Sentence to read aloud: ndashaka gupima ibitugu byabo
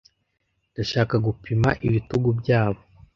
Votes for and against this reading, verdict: 2, 0, accepted